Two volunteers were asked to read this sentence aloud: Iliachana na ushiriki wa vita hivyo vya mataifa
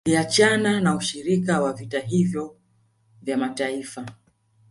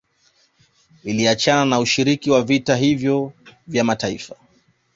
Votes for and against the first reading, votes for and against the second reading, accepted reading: 0, 2, 2, 0, second